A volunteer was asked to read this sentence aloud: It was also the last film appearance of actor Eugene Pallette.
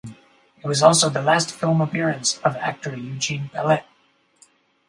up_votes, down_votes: 4, 0